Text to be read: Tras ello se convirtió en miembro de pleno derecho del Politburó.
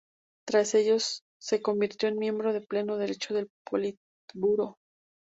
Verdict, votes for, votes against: accepted, 2, 0